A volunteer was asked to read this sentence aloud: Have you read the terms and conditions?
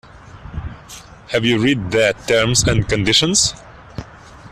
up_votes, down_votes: 2, 1